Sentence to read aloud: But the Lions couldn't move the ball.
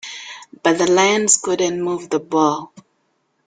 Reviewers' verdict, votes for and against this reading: accepted, 2, 0